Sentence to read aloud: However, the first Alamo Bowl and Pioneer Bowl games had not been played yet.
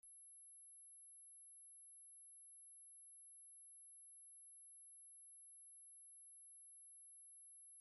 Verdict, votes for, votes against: rejected, 0, 2